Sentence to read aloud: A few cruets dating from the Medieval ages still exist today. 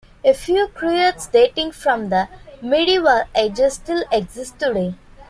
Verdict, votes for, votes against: accepted, 3, 0